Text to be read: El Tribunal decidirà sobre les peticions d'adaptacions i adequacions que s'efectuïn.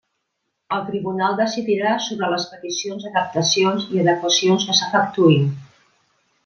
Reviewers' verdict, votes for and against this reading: rejected, 0, 2